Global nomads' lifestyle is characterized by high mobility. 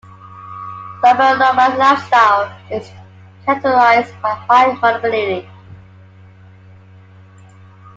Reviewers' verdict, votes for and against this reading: rejected, 0, 2